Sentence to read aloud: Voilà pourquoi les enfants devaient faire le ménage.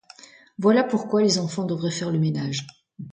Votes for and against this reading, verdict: 1, 2, rejected